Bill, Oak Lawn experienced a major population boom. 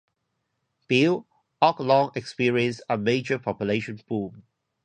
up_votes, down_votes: 0, 2